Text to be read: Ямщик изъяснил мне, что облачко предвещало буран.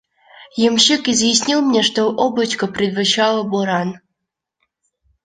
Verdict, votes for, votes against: accepted, 2, 1